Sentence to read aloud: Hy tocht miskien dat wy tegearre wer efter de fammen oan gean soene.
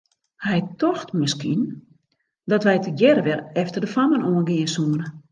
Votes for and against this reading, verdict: 2, 0, accepted